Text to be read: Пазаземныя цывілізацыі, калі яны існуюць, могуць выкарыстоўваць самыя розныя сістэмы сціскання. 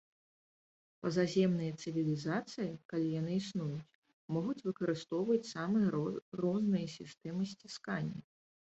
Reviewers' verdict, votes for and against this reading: rejected, 0, 2